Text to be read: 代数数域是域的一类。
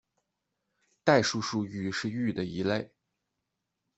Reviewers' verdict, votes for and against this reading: accepted, 2, 0